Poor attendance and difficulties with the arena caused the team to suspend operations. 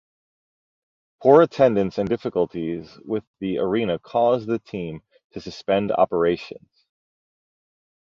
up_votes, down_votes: 2, 0